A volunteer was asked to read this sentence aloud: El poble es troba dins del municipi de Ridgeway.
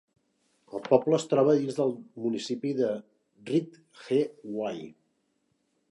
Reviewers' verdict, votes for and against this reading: rejected, 0, 2